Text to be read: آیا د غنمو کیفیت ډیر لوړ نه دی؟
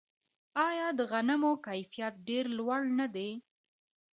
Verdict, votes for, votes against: accepted, 2, 0